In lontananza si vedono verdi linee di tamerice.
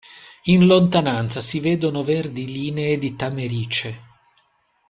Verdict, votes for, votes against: accepted, 2, 0